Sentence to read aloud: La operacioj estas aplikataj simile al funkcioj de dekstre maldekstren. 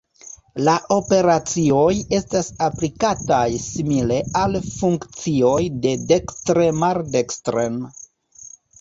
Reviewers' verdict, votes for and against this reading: accepted, 2, 0